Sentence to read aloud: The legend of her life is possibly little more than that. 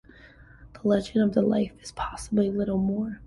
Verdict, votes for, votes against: rejected, 0, 2